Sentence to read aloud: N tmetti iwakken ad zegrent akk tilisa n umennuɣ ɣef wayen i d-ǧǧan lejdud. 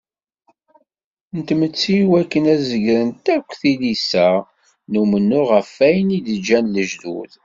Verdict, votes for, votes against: accepted, 2, 1